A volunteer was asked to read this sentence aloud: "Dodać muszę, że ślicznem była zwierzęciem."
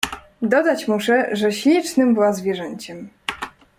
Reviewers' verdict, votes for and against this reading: rejected, 1, 2